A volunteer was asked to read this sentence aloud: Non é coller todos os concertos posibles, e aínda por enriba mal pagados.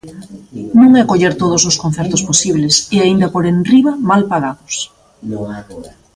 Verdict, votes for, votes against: rejected, 0, 2